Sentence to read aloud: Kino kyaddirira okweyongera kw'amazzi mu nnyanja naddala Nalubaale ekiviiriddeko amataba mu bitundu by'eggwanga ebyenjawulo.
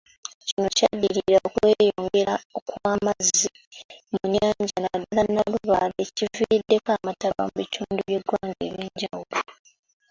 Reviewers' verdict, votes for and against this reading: accepted, 2, 1